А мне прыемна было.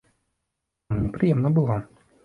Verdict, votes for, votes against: accepted, 2, 0